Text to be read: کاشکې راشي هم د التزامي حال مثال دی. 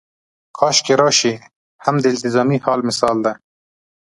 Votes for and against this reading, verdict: 2, 0, accepted